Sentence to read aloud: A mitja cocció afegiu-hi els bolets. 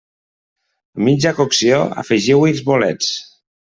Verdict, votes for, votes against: rejected, 1, 2